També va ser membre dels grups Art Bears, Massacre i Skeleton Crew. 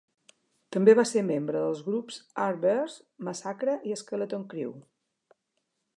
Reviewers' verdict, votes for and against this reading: accepted, 2, 1